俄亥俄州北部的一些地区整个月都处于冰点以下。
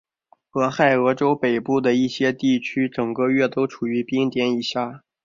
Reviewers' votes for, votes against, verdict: 5, 1, accepted